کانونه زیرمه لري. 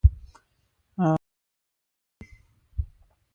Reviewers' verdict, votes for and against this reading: rejected, 0, 4